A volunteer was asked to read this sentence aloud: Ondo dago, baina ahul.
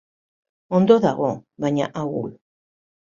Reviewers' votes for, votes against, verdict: 1, 2, rejected